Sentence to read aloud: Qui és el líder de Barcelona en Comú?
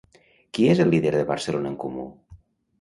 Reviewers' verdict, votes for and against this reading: rejected, 0, 2